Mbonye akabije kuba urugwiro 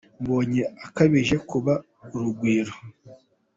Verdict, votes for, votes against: accepted, 2, 0